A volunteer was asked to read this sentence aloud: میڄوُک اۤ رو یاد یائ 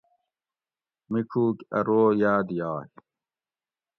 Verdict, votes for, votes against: accepted, 2, 0